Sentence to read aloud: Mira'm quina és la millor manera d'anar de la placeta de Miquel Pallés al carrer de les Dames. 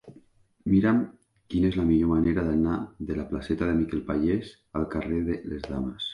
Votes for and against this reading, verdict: 4, 0, accepted